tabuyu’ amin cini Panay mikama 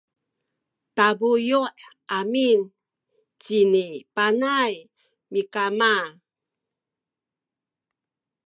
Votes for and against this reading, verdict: 2, 0, accepted